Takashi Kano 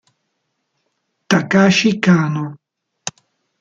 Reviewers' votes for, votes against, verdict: 2, 0, accepted